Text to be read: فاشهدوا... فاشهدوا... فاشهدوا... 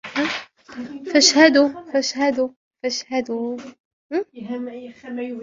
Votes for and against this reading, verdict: 0, 2, rejected